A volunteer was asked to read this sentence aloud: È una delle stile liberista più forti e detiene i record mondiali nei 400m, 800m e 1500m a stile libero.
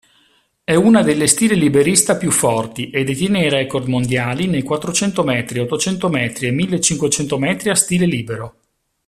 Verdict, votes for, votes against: rejected, 0, 2